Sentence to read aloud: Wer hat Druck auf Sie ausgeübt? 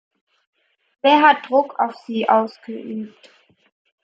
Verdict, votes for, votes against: accepted, 2, 0